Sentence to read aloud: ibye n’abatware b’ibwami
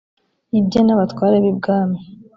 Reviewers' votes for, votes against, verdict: 2, 0, accepted